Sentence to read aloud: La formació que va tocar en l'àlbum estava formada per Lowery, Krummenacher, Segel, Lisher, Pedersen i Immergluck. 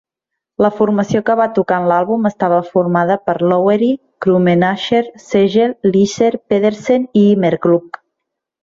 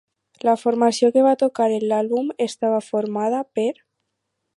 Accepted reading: first